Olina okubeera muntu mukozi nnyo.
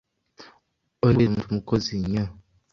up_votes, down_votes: 1, 2